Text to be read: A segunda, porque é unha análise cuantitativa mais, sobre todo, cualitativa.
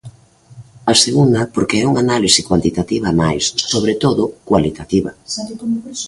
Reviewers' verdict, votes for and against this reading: rejected, 1, 2